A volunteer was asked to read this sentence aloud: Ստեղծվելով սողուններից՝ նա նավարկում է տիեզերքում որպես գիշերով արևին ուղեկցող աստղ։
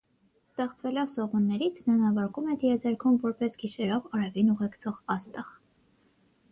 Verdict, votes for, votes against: accepted, 6, 0